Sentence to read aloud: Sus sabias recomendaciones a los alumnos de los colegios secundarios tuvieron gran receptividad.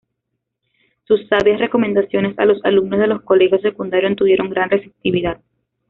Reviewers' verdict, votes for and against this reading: accepted, 2, 0